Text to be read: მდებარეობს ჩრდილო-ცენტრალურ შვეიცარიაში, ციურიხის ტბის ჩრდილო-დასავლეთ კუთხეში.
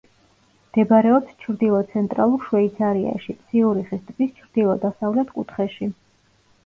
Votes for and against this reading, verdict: 2, 0, accepted